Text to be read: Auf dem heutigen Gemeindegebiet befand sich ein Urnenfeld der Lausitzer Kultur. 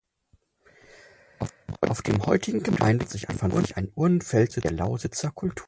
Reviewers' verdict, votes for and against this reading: rejected, 0, 4